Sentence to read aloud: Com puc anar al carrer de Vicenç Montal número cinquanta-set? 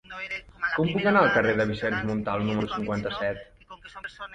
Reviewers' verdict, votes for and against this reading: rejected, 0, 2